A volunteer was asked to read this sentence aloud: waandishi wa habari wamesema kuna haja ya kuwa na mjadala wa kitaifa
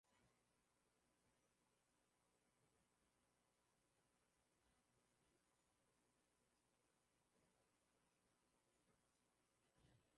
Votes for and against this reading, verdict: 0, 2, rejected